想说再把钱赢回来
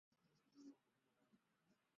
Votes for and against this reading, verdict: 0, 2, rejected